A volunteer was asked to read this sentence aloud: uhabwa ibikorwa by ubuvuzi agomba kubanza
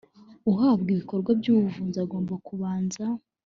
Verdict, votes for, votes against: accepted, 2, 0